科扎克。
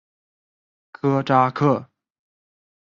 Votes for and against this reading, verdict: 4, 0, accepted